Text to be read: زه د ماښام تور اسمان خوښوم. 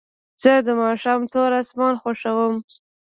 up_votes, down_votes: 0, 2